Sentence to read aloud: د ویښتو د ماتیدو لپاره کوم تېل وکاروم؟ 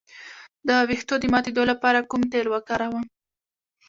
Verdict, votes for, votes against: accepted, 2, 1